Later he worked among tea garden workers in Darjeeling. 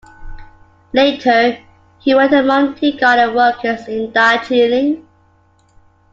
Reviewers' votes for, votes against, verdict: 2, 0, accepted